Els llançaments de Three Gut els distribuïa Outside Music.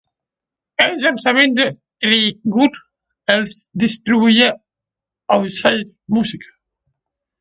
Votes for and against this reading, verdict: 3, 0, accepted